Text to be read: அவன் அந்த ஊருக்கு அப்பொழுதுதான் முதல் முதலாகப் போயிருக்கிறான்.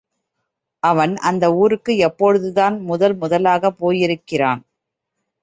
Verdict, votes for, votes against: rejected, 1, 2